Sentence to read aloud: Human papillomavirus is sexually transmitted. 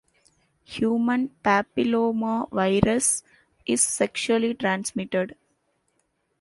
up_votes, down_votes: 2, 0